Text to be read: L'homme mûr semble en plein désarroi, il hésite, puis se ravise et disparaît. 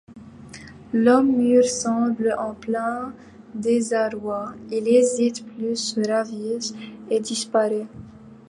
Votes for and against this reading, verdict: 2, 0, accepted